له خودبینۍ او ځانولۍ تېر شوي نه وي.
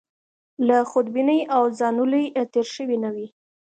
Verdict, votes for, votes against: rejected, 1, 2